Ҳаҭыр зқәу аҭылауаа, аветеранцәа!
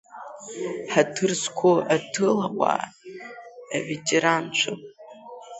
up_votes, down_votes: 0, 2